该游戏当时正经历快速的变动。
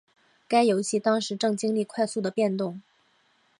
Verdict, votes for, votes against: accepted, 2, 0